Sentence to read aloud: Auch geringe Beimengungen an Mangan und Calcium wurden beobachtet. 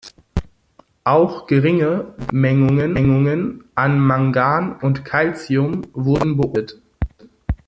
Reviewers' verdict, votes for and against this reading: rejected, 0, 2